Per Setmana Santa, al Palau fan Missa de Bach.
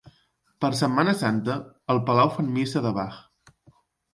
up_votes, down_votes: 2, 0